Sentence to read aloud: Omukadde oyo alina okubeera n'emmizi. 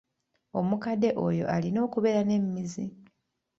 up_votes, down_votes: 2, 0